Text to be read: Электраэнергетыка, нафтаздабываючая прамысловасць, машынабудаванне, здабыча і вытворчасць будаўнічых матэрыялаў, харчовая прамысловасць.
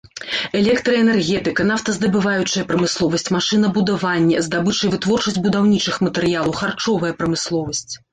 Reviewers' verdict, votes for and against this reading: accepted, 2, 0